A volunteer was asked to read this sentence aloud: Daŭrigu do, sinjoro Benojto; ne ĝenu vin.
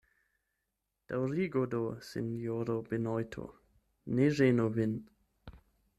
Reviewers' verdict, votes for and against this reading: accepted, 8, 0